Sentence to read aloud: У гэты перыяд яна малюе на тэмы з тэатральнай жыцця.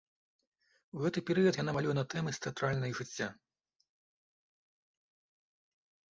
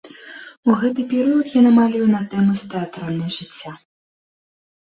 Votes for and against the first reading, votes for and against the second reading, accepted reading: 2, 3, 2, 0, second